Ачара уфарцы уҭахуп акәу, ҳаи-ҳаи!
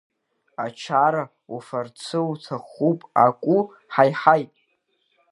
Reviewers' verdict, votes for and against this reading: rejected, 0, 2